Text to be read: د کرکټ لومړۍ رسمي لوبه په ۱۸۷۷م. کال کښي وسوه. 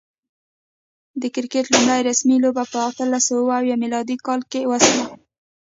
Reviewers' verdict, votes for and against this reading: rejected, 0, 2